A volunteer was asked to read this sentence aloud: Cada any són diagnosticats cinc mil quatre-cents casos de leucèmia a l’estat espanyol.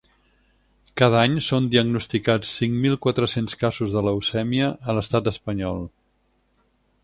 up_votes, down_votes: 8, 0